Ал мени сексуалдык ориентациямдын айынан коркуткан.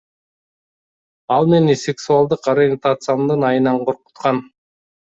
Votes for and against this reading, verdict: 2, 0, accepted